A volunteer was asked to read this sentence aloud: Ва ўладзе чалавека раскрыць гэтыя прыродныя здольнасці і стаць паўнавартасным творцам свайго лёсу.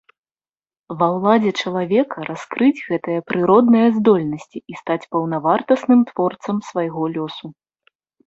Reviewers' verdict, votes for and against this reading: accepted, 2, 0